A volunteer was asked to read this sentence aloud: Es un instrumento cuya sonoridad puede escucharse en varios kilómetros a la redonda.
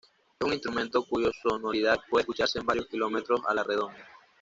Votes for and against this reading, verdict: 1, 2, rejected